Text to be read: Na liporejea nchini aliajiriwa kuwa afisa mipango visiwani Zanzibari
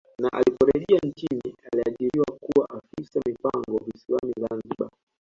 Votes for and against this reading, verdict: 2, 1, accepted